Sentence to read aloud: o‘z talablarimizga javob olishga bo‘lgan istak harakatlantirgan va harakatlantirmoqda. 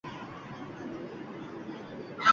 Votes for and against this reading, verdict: 0, 2, rejected